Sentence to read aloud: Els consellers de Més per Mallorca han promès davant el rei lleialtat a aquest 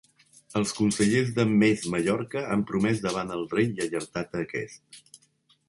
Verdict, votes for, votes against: rejected, 1, 2